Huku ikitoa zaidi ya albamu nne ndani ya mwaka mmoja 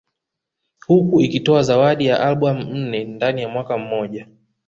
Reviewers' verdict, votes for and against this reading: rejected, 1, 2